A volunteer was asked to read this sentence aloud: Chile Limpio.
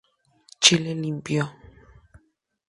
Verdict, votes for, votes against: accepted, 2, 0